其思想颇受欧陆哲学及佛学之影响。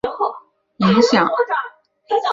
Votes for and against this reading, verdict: 2, 1, accepted